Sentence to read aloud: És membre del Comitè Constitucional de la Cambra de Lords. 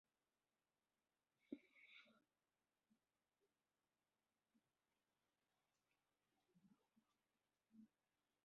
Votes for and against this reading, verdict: 0, 2, rejected